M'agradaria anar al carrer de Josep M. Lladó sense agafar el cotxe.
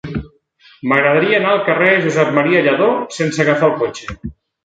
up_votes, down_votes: 2, 0